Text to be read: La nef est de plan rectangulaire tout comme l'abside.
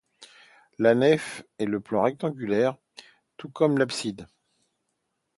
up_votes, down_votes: 1, 2